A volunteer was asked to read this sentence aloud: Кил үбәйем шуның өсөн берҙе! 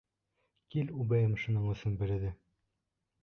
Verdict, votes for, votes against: rejected, 1, 2